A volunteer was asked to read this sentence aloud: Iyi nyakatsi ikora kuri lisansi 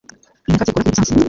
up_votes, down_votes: 1, 2